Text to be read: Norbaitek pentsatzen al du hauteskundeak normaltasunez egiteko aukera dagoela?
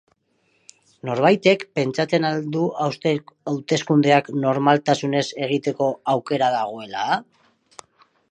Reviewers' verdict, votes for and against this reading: rejected, 0, 4